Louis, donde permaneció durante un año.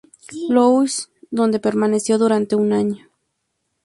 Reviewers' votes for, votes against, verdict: 2, 0, accepted